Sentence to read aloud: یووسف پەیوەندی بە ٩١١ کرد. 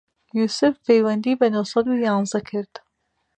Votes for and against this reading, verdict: 0, 2, rejected